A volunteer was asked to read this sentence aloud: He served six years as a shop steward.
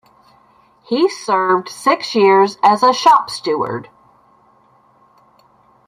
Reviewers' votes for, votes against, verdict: 2, 1, accepted